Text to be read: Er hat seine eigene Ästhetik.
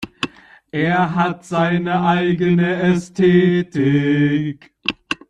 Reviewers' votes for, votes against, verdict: 0, 2, rejected